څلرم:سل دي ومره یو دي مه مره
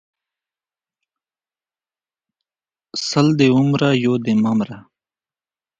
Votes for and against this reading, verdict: 2, 1, accepted